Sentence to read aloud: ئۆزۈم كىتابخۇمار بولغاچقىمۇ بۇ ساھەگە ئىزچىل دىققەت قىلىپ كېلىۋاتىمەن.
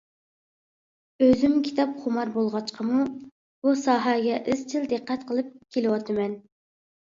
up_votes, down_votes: 2, 0